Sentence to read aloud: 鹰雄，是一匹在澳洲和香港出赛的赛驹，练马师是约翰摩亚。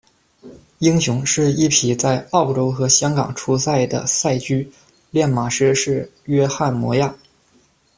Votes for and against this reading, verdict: 2, 0, accepted